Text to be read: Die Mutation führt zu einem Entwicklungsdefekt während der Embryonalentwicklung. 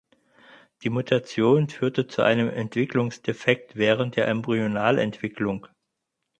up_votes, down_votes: 0, 4